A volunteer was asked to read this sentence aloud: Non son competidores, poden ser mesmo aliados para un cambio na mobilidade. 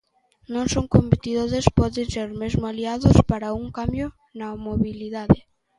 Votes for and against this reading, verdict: 1, 2, rejected